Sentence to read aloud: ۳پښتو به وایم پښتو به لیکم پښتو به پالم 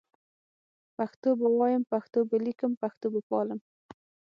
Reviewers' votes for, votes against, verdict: 0, 2, rejected